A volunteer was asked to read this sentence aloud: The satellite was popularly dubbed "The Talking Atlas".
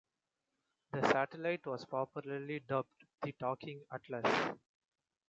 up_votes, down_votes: 2, 0